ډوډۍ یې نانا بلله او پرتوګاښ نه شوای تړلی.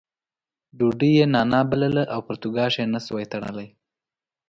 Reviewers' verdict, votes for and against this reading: accepted, 2, 0